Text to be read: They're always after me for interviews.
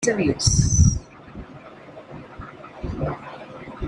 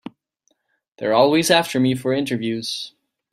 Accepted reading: second